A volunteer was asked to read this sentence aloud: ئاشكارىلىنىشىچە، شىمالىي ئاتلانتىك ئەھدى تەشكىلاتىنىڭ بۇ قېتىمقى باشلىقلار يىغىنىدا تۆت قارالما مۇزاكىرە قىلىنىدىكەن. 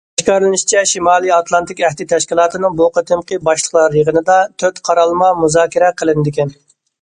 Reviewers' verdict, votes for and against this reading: rejected, 1, 2